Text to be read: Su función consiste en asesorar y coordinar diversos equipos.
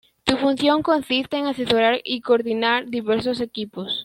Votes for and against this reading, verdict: 2, 1, accepted